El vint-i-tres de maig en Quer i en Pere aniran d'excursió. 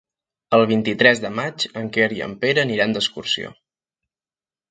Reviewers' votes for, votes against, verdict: 3, 0, accepted